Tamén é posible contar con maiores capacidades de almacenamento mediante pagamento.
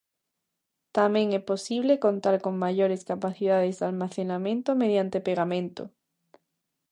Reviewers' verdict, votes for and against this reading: rejected, 0, 2